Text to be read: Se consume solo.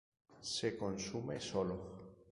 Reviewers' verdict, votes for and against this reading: accepted, 4, 0